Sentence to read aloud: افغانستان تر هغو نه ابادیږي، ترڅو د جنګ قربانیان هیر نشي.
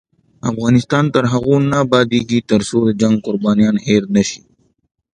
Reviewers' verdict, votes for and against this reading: accepted, 2, 0